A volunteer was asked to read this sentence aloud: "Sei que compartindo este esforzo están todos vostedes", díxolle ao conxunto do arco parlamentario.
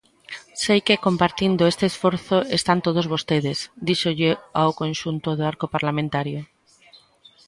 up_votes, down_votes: 1, 2